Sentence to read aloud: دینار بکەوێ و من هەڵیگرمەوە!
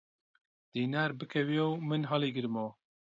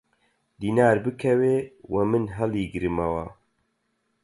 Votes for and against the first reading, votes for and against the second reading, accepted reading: 2, 0, 0, 4, first